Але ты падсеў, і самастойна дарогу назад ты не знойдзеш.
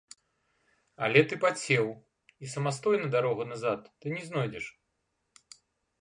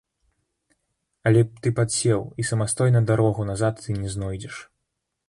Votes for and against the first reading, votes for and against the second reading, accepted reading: 2, 0, 0, 2, first